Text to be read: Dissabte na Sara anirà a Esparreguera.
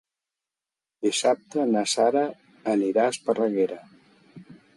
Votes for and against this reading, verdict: 2, 0, accepted